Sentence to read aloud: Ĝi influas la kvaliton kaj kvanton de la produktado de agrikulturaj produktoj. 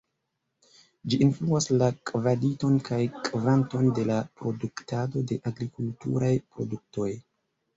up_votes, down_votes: 0, 2